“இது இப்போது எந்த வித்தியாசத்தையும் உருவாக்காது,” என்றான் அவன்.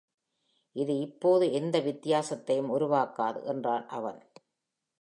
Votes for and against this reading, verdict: 2, 0, accepted